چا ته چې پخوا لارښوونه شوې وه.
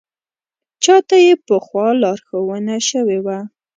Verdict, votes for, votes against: rejected, 1, 2